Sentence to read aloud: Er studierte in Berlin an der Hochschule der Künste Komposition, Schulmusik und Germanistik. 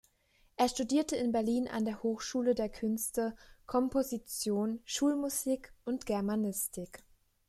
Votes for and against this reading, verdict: 2, 0, accepted